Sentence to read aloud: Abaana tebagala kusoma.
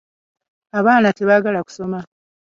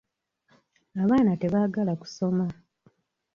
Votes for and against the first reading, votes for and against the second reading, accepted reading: 2, 0, 1, 2, first